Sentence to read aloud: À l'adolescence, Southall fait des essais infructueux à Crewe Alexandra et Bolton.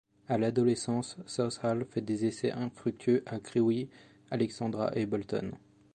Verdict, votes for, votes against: accepted, 2, 0